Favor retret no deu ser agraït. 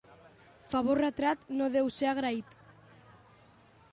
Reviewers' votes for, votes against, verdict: 2, 1, accepted